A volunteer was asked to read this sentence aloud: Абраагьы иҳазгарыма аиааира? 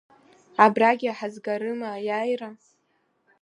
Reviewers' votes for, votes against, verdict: 1, 2, rejected